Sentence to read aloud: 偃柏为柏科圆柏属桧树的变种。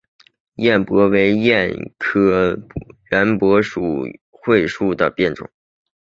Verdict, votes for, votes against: accepted, 5, 0